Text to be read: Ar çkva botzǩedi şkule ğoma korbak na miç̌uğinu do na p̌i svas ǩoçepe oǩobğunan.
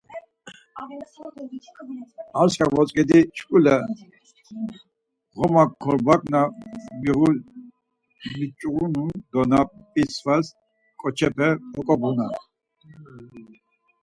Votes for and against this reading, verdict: 2, 4, rejected